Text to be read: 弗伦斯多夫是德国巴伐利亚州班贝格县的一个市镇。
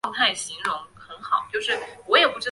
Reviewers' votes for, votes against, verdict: 1, 2, rejected